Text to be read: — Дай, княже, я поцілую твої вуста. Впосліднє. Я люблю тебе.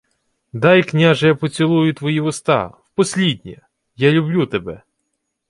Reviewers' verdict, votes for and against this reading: accepted, 2, 0